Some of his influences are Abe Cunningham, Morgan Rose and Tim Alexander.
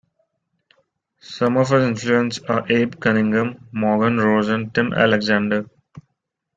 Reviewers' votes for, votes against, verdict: 0, 2, rejected